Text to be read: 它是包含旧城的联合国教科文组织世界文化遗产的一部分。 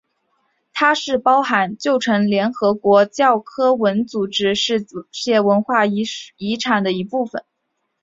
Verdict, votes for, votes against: rejected, 1, 2